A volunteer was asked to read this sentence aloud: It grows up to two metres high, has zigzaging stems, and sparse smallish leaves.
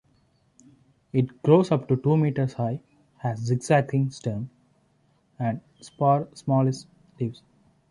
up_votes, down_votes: 1, 2